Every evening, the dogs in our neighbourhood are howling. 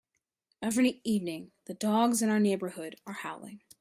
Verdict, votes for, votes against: accepted, 2, 0